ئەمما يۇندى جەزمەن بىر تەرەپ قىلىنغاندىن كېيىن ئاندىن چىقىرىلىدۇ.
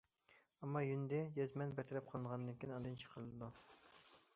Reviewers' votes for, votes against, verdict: 1, 2, rejected